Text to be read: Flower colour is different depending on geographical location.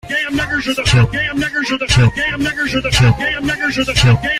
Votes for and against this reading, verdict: 0, 2, rejected